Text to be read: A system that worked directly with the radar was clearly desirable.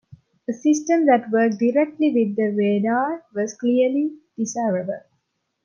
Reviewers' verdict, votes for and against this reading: accepted, 2, 0